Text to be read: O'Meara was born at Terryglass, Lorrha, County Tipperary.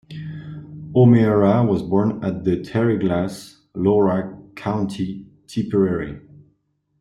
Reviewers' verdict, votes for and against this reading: rejected, 1, 2